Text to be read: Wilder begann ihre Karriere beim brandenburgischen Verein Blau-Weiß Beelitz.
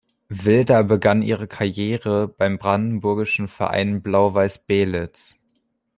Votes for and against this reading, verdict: 2, 0, accepted